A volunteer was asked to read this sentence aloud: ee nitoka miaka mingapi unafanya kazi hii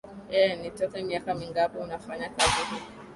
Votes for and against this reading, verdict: 9, 4, accepted